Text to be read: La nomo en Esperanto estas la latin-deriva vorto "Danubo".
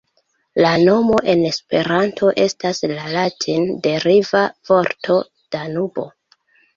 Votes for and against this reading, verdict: 2, 1, accepted